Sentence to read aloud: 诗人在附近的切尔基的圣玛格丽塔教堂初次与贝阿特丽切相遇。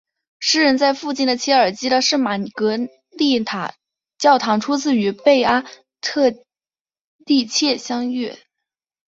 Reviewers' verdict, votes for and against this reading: accepted, 2, 0